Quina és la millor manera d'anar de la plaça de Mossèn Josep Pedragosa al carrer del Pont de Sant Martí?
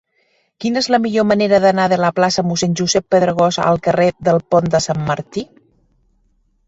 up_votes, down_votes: 3, 0